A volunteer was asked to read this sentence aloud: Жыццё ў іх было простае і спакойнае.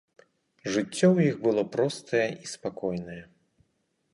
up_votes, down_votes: 4, 0